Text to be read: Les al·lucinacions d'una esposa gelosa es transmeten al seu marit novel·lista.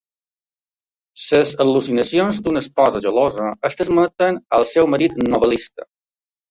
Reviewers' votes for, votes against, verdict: 1, 2, rejected